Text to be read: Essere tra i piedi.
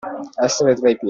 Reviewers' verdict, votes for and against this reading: rejected, 0, 2